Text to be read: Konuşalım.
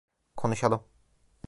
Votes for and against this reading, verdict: 2, 0, accepted